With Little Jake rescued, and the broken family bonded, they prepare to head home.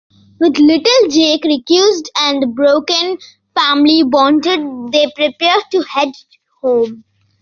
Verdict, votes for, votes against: rejected, 1, 2